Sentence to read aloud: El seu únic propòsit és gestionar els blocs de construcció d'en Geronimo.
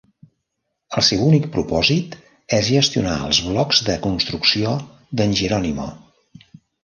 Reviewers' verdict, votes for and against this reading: rejected, 0, 2